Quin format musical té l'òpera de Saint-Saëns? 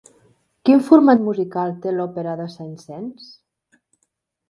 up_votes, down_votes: 0, 2